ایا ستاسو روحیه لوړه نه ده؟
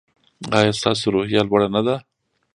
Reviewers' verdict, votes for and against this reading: accepted, 2, 1